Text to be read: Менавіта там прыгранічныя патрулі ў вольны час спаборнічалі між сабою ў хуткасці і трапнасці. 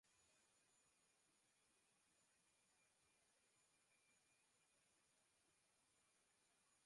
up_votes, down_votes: 0, 2